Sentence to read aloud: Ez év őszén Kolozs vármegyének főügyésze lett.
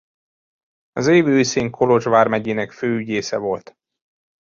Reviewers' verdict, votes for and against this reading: rejected, 0, 3